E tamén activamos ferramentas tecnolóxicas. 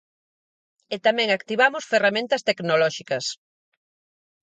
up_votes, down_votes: 4, 0